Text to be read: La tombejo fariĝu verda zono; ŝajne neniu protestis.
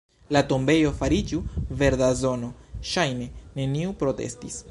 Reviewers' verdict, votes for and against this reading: accepted, 2, 0